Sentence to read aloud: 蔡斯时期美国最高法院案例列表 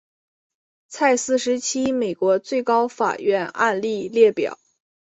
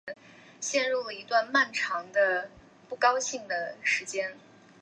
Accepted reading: first